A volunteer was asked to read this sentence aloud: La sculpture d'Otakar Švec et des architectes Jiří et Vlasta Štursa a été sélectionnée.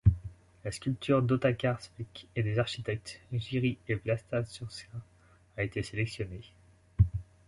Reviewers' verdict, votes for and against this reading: rejected, 1, 2